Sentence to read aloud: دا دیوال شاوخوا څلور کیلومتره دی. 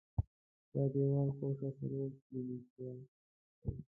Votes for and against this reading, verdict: 1, 2, rejected